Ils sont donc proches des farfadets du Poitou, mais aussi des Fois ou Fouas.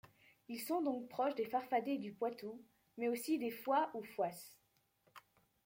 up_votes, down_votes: 2, 0